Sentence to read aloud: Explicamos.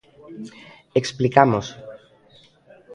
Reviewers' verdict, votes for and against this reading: accepted, 2, 0